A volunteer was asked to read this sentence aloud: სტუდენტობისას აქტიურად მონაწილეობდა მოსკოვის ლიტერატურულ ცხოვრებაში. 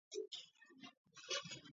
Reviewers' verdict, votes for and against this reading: rejected, 1, 2